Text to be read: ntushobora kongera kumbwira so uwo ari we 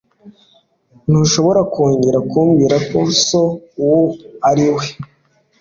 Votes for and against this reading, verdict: 3, 0, accepted